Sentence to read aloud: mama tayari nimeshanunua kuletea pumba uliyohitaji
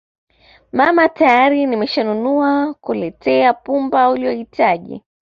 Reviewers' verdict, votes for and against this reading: accepted, 2, 1